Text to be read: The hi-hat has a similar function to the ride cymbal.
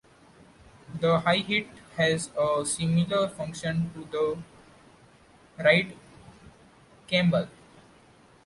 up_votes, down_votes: 0, 2